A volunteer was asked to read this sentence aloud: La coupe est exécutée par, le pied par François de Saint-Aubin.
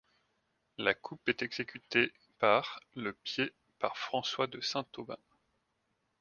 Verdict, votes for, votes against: rejected, 1, 2